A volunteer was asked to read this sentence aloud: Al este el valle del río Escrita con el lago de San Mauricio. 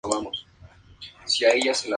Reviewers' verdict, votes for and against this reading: rejected, 0, 2